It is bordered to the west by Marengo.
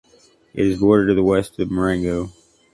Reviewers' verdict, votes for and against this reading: accepted, 2, 1